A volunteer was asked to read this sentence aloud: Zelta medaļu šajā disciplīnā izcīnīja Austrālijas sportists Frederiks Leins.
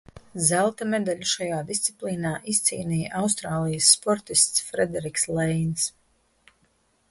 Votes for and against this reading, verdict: 2, 2, rejected